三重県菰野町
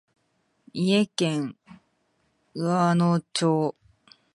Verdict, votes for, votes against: rejected, 1, 2